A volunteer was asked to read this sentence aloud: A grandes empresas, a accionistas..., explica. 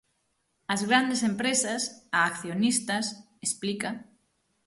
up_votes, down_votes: 3, 9